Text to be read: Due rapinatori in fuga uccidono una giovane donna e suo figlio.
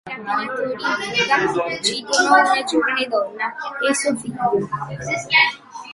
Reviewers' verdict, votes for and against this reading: rejected, 0, 2